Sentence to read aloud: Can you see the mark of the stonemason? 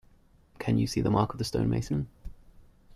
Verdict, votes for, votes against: accepted, 2, 0